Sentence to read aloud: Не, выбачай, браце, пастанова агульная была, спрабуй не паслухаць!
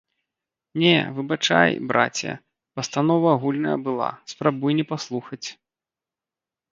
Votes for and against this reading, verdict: 2, 0, accepted